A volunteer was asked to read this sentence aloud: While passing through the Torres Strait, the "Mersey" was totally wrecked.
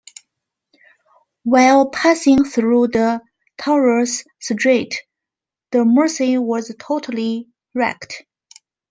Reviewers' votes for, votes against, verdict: 2, 1, accepted